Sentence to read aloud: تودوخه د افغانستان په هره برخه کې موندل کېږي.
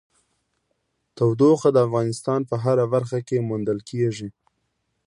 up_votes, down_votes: 2, 0